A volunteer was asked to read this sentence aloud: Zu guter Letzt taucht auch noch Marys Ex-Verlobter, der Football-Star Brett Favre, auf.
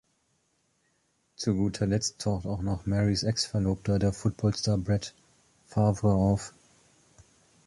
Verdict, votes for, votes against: accepted, 2, 0